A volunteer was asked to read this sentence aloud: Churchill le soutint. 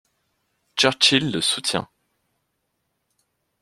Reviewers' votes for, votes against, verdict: 1, 2, rejected